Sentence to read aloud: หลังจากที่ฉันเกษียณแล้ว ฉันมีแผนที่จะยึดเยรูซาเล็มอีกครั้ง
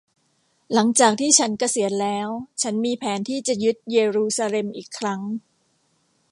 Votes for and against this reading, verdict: 2, 0, accepted